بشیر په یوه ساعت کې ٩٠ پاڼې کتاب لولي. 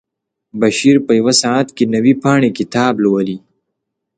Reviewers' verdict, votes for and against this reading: rejected, 0, 2